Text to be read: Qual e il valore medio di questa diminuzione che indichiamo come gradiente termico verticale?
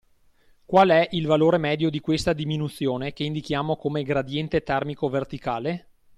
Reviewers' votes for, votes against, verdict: 2, 0, accepted